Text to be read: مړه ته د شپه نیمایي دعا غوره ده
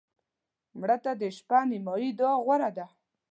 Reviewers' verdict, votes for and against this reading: accepted, 2, 0